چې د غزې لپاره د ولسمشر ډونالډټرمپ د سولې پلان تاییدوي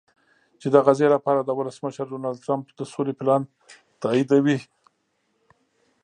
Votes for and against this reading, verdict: 2, 0, accepted